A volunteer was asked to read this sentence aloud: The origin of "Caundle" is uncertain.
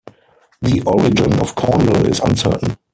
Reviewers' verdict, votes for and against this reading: rejected, 2, 4